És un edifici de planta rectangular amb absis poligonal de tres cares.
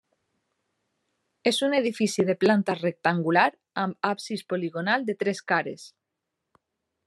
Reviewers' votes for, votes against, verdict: 3, 0, accepted